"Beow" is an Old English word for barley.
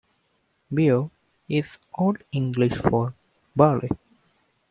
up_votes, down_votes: 1, 2